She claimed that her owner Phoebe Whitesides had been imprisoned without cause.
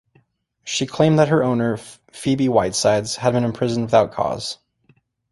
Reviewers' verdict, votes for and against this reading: accepted, 2, 0